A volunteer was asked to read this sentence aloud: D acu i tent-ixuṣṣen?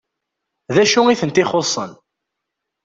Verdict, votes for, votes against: accepted, 2, 0